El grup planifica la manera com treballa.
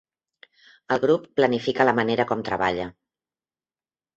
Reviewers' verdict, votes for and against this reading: accepted, 3, 0